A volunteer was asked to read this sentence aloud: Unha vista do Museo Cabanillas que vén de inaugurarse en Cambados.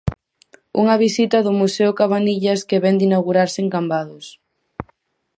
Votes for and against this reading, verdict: 0, 4, rejected